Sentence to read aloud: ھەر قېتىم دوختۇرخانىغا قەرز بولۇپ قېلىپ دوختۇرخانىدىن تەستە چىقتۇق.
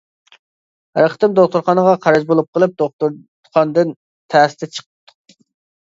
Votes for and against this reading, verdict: 0, 2, rejected